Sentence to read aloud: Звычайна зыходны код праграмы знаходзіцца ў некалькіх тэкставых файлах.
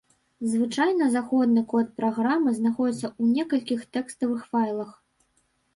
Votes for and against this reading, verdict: 1, 2, rejected